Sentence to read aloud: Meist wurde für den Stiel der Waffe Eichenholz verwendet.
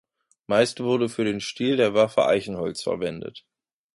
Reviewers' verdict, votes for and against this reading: accepted, 2, 0